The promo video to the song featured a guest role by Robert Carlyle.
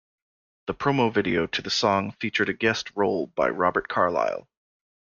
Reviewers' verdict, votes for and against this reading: accepted, 2, 0